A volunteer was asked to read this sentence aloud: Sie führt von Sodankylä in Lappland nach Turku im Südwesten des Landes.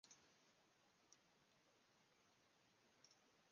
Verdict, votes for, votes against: rejected, 0, 2